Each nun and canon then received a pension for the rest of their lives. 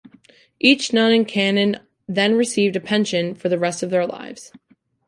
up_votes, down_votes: 2, 0